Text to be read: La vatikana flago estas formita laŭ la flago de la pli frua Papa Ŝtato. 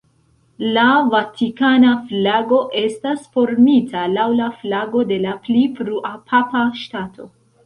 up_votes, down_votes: 1, 2